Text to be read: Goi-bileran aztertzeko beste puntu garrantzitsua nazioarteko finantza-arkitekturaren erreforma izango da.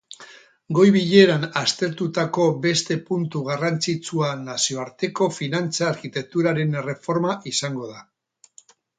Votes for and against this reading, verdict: 2, 2, rejected